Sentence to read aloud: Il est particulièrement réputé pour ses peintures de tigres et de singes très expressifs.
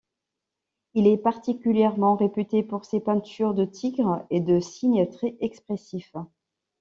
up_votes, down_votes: 0, 2